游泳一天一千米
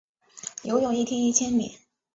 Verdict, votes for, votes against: accepted, 7, 0